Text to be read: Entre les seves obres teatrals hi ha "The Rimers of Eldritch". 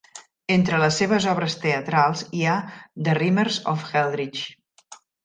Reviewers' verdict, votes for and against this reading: accepted, 2, 0